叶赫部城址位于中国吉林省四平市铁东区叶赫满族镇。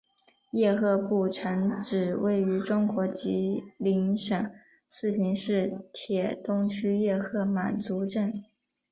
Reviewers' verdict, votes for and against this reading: accepted, 4, 0